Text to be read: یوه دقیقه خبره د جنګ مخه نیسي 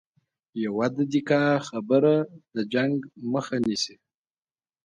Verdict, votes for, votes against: accepted, 2, 0